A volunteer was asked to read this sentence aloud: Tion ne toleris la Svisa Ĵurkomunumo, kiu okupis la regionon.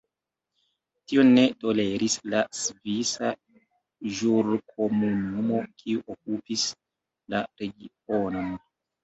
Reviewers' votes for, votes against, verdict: 2, 1, accepted